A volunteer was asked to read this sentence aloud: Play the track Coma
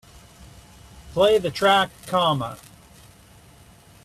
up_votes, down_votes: 2, 0